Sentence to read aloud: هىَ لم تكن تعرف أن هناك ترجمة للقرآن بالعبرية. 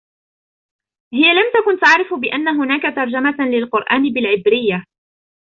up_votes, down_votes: 2, 1